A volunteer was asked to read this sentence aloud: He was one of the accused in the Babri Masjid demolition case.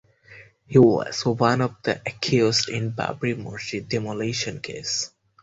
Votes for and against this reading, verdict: 0, 4, rejected